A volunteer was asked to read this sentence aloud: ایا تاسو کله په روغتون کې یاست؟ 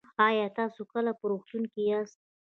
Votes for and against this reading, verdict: 1, 2, rejected